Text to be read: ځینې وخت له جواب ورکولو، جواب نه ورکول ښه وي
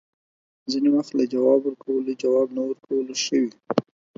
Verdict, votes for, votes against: accepted, 4, 0